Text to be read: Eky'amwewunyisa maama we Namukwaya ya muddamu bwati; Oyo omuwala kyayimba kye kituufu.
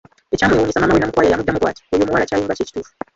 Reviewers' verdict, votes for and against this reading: rejected, 0, 2